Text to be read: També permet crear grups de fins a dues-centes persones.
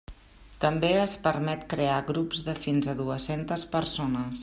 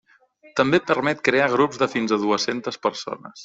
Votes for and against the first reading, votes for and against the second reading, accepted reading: 1, 2, 3, 0, second